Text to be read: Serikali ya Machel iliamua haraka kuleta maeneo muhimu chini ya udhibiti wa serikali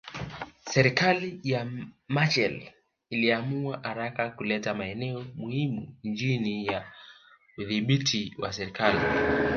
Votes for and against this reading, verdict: 1, 2, rejected